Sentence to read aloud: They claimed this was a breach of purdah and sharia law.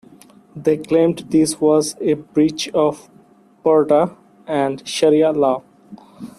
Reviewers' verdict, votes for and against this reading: accepted, 2, 0